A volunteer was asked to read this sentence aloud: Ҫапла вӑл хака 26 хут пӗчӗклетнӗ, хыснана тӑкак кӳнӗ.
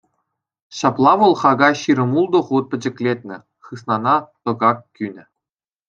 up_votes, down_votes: 0, 2